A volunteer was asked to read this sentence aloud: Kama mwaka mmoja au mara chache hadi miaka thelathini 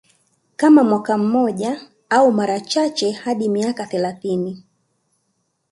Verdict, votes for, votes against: accepted, 2, 0